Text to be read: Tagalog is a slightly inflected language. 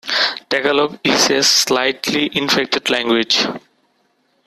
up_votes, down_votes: 2, 1